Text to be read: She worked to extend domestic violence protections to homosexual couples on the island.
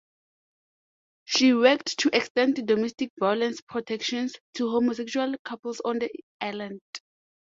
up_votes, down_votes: 2, 0